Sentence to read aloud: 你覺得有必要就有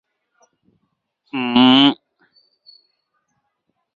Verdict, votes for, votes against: rejected, 0, 2